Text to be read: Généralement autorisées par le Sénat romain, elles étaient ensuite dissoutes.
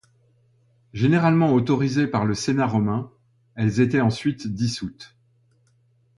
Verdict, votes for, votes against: accepted, 2, 0